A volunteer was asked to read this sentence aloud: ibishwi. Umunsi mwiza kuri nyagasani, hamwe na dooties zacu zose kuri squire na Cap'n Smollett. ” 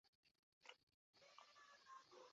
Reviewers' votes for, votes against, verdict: 0, 2, rejected